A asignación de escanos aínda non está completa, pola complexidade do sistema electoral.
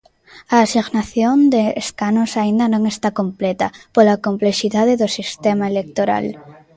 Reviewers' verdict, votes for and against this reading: accepted, 2, 0